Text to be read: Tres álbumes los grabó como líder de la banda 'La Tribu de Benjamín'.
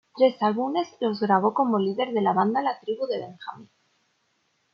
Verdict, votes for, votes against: accepted, 2, 1